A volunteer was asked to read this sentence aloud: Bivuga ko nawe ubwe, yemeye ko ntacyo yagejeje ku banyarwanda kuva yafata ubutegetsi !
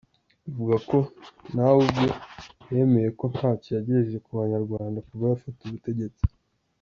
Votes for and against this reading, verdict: 1, 2, rejected